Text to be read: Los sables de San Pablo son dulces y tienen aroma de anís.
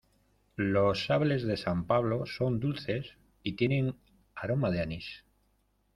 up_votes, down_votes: 0, 2